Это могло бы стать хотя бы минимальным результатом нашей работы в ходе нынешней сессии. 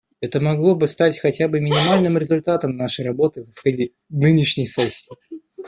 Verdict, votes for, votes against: rejected, 1, 2